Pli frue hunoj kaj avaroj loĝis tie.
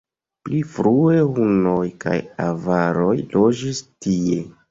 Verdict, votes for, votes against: accepted, 2, 0